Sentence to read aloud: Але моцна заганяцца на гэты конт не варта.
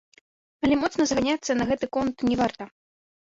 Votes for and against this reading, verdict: 1, 2, rejected